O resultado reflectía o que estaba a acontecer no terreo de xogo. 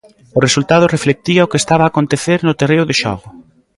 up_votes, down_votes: 0, 2